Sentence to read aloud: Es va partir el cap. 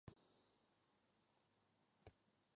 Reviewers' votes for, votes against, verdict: 0, 4, rejected